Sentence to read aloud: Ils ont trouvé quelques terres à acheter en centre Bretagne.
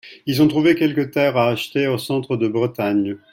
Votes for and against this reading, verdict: 1, 2, rejected